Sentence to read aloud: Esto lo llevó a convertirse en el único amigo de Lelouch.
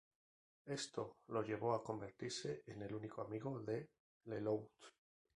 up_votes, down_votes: 0, 2